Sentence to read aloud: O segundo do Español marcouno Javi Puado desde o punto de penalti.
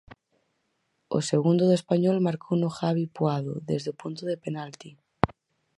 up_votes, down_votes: 4, 0